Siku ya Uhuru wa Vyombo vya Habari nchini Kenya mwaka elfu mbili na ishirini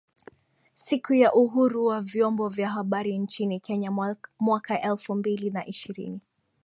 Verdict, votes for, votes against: accepted, 2, 0